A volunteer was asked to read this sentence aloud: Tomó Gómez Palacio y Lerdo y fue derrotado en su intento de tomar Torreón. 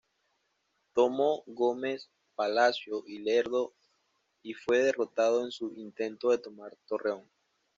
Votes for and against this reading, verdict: 2, 0, accepted